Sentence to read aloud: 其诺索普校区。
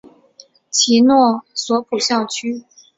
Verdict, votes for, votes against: accepted, 2, 1